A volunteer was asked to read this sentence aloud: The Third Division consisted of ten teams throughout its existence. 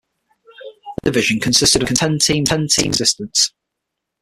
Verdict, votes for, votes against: rejected, 0, 6